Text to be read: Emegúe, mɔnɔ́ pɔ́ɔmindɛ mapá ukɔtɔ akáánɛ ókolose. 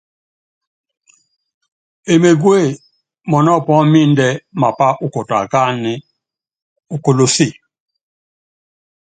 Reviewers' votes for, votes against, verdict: 2, 0, accepted